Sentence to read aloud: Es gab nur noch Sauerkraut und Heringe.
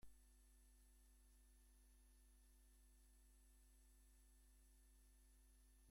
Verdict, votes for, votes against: rejected, 0, 2